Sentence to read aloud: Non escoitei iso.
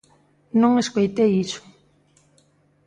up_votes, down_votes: 2, 0